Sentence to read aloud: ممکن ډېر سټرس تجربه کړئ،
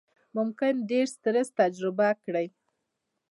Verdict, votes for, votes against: accepted, 2, 0